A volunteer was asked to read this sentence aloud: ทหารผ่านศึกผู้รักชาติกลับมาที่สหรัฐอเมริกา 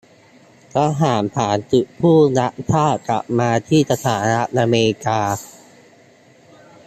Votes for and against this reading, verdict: 0, 2, rejected